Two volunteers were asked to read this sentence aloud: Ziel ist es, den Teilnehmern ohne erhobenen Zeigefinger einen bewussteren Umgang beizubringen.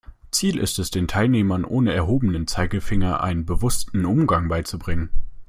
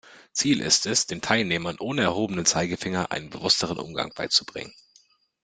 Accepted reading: second